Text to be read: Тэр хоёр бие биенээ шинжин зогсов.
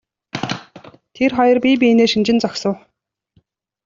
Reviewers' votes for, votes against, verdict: 2, 1, accepted